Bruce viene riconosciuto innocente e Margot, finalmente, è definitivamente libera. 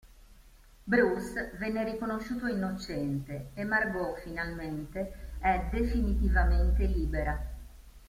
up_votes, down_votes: 1, 2